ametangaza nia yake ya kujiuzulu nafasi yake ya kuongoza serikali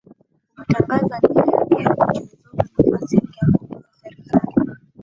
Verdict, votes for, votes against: rejected, 0, 2